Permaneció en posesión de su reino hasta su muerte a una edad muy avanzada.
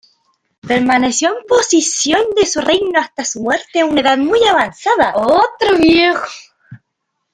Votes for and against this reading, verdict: 1, 2, rejected